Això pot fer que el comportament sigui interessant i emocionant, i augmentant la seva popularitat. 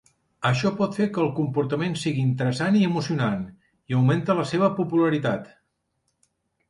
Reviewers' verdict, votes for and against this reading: rejected, 1, 2